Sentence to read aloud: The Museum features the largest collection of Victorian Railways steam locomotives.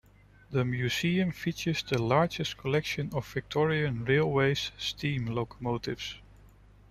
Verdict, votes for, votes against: rejected, 1, 2